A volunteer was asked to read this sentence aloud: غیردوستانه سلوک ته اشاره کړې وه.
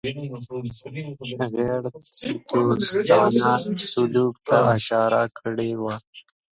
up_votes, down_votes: 2, 1